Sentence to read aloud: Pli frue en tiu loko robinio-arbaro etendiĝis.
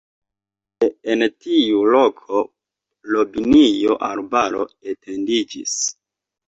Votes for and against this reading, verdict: 0, 2, rejected